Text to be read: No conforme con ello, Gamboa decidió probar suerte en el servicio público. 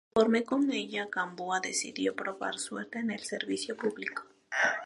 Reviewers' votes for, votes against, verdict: 0, 2, rejected